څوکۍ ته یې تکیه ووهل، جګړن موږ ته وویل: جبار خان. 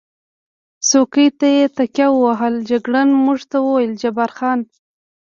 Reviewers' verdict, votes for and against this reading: rejected, 1, 2